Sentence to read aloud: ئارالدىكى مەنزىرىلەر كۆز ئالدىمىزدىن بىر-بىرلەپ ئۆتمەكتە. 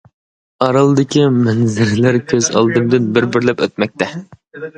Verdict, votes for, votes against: rejected, 0, 2